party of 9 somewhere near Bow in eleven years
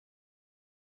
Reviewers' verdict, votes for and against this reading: rejected, 0, 2